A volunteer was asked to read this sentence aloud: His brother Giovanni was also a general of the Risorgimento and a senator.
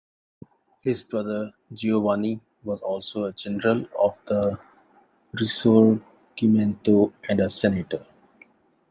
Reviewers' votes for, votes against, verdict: 2, 1, accepted